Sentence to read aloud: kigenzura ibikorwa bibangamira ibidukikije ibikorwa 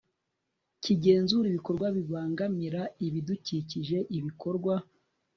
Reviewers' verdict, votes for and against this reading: rejected, 1, 2